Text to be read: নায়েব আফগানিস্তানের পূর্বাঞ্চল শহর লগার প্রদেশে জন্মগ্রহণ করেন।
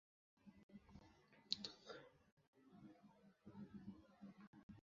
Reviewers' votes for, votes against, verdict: 0, 3, rejected